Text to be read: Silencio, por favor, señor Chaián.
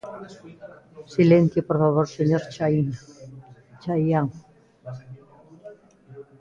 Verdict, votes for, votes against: rejected, 0, 3